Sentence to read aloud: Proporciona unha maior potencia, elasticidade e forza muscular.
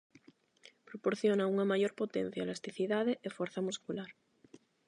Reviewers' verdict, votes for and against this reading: accepted, 4, 0